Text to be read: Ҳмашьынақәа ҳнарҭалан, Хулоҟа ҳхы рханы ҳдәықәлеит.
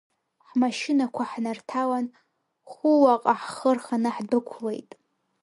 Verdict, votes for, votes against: rejected, 1, 2